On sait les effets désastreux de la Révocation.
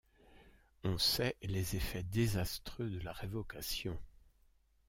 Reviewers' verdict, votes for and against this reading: accepted, 2, 0